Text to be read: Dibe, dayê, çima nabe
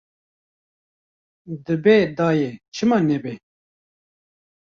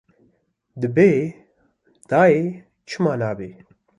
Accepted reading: second